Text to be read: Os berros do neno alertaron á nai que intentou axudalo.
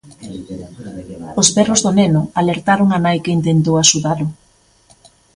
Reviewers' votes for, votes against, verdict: 1, 2, rejected